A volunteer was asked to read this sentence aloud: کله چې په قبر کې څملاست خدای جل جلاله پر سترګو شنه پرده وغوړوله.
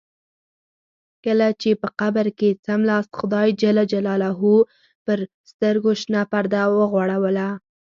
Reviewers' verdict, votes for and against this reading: accepted, 6, 2